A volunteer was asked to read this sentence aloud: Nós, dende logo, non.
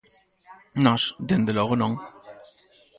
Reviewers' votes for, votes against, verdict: 4, 2, accepted